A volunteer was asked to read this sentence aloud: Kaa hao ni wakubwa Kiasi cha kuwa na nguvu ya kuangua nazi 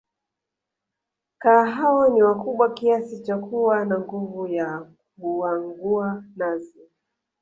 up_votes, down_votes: 6, 1